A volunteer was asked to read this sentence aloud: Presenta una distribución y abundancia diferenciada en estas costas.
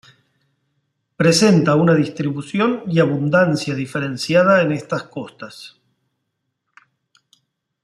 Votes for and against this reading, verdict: 2, 0, accepted